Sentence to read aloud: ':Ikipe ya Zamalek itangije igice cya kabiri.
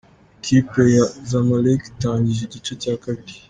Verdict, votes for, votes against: accepted, 2, 0